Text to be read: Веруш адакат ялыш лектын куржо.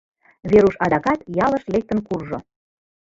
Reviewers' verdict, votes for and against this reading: accepted, 2, 0